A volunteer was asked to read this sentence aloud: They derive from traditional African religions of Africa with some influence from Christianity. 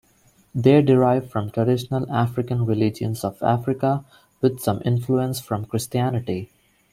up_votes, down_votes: 0, 2